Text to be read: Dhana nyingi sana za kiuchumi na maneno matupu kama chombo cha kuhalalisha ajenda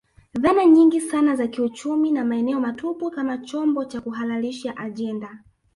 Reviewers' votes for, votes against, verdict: 3, 1, accepted